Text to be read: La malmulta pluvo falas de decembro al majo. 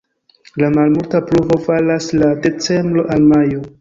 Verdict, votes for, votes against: rejected, 0, 2